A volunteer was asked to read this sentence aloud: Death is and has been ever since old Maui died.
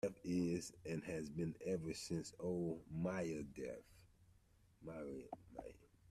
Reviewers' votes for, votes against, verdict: 0, 2, rejected